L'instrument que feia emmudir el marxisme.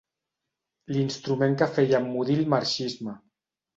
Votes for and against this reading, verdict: 1, 2, rejected